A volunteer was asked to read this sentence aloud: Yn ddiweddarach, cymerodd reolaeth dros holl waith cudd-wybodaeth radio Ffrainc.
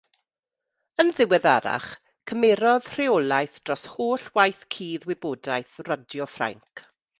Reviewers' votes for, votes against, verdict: 1, 2, rejected